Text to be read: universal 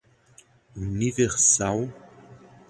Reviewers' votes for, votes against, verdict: 0, 2, rejected